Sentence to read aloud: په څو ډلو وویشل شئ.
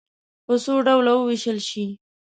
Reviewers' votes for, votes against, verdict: 1, 2, rejected